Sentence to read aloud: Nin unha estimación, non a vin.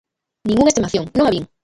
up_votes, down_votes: 1, 2